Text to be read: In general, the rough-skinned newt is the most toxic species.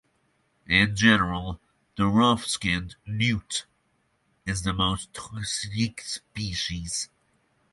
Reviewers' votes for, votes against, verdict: 6, 0, accepted